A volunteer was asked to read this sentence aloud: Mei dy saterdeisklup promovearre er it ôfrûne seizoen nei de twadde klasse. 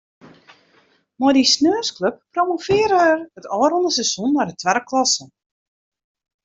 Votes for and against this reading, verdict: 1, 2, rejected